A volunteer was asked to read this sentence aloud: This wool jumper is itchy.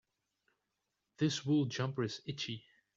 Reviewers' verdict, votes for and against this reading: accepted, 3, 0